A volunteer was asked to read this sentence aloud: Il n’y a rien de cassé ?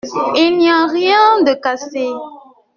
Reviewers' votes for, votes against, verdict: 1, 2, rejected